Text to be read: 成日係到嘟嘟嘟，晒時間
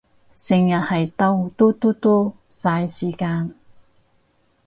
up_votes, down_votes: 2, 2